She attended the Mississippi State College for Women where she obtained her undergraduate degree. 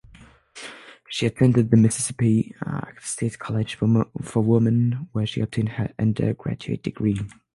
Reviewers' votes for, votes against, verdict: 3, 3, rejected